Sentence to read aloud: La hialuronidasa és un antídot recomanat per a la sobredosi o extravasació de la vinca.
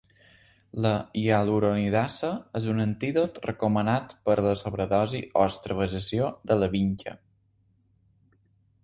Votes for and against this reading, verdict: 1, 2, rejected